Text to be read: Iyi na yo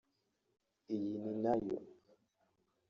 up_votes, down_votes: 1, 2